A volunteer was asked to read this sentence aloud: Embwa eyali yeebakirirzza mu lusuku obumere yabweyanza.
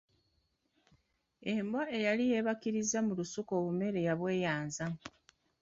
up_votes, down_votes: 2, 0